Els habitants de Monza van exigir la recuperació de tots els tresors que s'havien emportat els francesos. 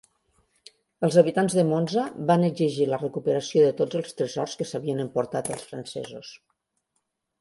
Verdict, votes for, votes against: accepted, 2, 0